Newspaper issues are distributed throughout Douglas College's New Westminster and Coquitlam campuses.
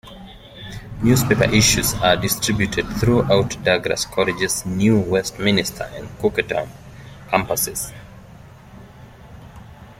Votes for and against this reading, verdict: 1, 2, rejected